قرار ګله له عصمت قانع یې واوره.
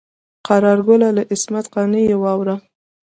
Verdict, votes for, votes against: rejected, 0, 2